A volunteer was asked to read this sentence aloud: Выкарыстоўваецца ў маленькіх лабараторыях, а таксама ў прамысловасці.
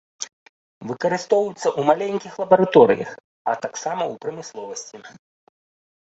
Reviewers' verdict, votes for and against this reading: rejected, 1, 2